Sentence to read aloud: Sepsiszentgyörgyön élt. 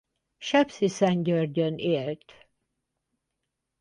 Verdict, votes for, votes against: rejected, 0, 4